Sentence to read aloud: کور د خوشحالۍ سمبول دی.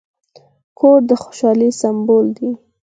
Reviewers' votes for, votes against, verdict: 6, 4, accepted